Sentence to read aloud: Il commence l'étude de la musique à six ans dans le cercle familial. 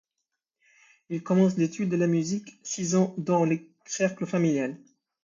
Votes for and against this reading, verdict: 0, 2, rejected